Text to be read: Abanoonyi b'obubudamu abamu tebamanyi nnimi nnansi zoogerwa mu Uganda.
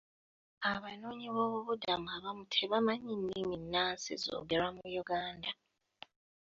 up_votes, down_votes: 2, 0